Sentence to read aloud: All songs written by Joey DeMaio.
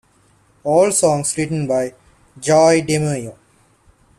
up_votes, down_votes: 2, 1